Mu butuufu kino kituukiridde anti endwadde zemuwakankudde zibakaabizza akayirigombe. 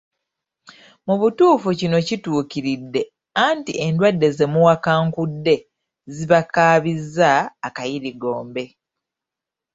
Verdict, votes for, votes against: accepted, 2, 0